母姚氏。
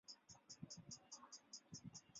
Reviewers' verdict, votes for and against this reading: rejected, 0, 2